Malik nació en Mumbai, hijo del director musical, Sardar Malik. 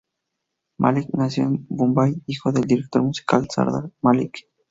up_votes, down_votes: 2, 0